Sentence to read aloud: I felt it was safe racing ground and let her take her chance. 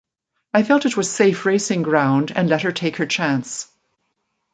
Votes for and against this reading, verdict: 2, 0, accepted